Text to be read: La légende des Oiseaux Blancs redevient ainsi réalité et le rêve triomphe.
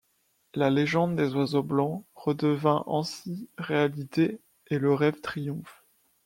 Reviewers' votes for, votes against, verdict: 0, 2, rejected